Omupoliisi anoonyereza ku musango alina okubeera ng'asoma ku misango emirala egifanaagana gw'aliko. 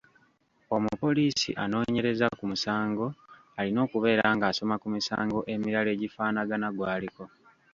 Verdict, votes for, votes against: rejected, 1, 2